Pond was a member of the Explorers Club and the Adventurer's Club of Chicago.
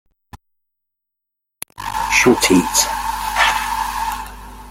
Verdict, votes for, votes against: rejected, 0, 2